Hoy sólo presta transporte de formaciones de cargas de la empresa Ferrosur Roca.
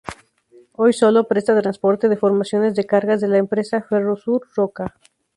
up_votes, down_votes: 2, 0